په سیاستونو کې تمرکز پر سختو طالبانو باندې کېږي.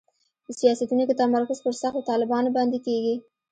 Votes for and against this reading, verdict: 2, 0, accepted